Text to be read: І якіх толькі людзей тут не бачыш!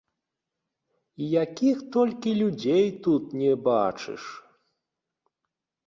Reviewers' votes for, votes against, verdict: 2, 0, accepted